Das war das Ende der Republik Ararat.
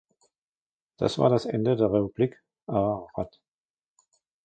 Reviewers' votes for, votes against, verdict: 1, 2, rejected